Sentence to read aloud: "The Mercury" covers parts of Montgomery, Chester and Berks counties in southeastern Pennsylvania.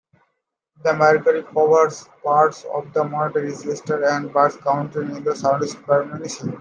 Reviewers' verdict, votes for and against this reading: rejected, 0, 2